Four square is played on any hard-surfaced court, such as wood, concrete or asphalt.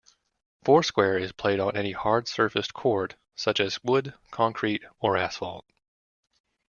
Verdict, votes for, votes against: accepted, 2, 0